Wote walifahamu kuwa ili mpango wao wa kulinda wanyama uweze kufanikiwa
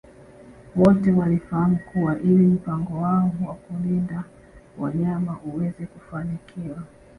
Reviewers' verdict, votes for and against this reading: accepted, 2, 0